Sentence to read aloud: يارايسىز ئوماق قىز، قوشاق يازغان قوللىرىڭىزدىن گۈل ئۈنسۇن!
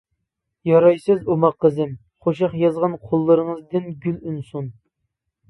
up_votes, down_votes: 0, 2